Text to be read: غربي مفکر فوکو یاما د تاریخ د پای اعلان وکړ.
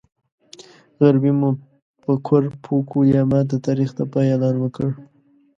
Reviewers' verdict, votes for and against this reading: rejected, 0, 2